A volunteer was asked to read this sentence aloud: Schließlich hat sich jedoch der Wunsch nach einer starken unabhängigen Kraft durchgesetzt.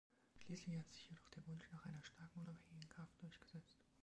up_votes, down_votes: 0, 2